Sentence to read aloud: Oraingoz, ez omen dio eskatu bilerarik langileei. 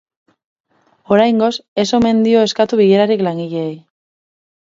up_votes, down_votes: 4, 0